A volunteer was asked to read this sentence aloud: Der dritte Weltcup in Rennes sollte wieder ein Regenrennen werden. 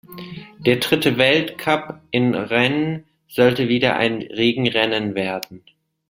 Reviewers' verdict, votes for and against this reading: accepted, 2, 1